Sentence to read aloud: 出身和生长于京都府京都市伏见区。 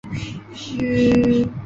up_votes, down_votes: 0, 2